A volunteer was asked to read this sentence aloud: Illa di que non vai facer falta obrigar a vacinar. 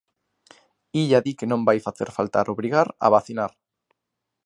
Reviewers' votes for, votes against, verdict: 0, 2, rejected